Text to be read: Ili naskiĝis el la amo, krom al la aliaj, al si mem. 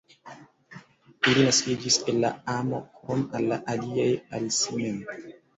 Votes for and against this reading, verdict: 0, 2, rejected